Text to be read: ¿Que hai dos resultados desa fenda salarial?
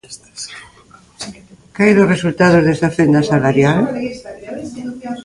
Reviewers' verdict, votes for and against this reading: rejected, 0, 2